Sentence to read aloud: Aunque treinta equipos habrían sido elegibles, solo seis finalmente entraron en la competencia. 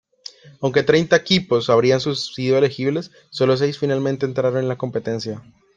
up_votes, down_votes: 0, 2